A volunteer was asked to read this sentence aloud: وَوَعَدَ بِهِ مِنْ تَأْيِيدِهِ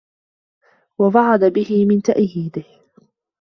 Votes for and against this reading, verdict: 2, 0, accepted